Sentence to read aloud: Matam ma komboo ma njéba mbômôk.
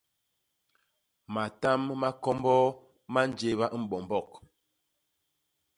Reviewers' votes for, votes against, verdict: 0, 2, rejected